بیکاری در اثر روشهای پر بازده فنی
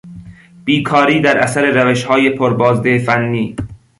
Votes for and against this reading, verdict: 2, 0, accepted